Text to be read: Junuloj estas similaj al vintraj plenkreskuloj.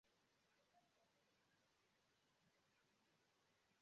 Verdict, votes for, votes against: rejected, 0, 2